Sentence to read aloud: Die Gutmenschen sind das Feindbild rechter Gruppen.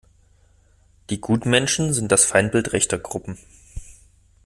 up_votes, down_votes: 2, 0